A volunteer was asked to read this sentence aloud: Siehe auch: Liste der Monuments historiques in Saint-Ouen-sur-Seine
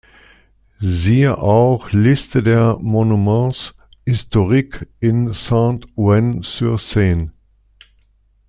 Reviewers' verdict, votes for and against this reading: accepted, 2, 0